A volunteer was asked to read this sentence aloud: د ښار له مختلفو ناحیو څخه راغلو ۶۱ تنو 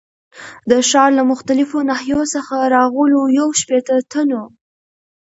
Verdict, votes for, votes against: rejected, 0, 2